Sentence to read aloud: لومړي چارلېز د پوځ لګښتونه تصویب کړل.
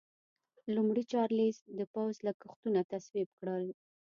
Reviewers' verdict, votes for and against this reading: accepted, 2, 0